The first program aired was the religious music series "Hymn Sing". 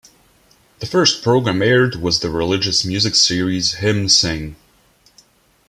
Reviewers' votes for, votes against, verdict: 2, 0, accepted